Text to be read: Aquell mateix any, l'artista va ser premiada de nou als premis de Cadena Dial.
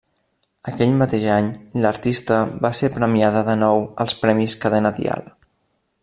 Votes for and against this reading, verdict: 0, 2, rejected